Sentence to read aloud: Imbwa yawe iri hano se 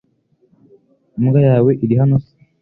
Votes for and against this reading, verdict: 2, 0, accepted